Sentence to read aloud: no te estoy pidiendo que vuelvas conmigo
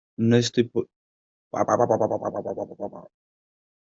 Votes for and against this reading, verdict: 0, 2, rejected